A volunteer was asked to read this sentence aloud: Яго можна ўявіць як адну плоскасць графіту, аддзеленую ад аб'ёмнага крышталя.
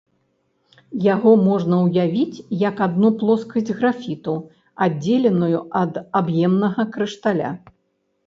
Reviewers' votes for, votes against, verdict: 0, 2, rejected